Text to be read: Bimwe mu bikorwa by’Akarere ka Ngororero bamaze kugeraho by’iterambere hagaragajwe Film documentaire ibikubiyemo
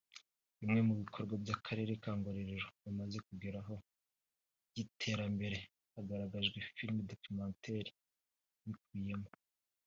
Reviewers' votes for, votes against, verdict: 3, 0, accepted